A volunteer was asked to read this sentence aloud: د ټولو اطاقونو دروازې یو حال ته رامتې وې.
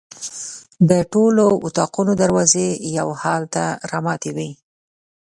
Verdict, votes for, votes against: accepted, 2, 0